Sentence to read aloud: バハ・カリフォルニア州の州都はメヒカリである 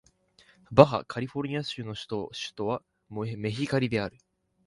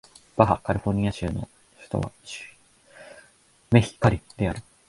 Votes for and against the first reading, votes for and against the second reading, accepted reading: 3, 2, 1, 2, first